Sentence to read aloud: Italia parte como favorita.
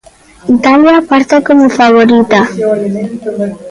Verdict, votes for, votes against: accepted, 2, 0